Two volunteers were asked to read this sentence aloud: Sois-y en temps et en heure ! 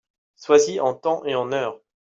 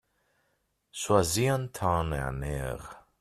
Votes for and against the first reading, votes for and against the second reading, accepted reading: 2, 0, 0, 2, first